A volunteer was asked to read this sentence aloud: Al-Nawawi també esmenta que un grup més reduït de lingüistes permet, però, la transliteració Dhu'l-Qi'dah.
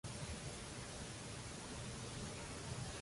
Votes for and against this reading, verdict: 0, 2, rejected